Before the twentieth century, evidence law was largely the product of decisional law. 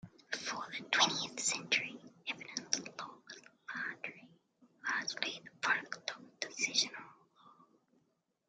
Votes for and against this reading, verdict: 0, 2, rejected